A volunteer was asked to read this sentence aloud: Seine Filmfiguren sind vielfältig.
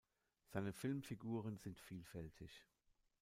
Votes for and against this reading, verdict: 1, 2, rejected